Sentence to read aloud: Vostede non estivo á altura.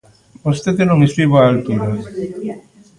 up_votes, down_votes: 1, 2